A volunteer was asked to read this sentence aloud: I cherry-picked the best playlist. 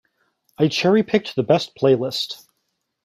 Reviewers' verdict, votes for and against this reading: accepted, 2, 0